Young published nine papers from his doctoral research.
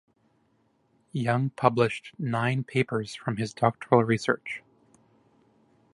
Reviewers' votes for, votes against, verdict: 2, 0, accepted